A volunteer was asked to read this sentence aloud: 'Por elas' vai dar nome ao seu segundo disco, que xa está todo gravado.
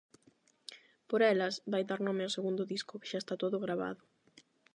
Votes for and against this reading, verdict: 4, 8, rejected